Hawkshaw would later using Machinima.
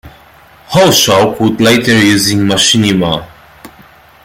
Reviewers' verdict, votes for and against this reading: rejected, 0, 2